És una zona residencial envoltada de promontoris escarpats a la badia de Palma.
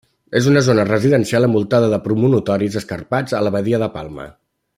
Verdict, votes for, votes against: rejected, 0, 2